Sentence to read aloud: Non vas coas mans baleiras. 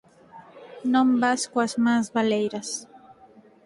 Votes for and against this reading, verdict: 4, 0, accepted